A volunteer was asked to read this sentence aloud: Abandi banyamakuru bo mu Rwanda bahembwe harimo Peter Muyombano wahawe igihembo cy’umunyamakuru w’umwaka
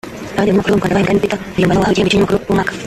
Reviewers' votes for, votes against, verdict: 0, 2, rejected